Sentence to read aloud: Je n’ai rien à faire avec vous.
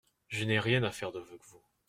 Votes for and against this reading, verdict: 1, 2, rejected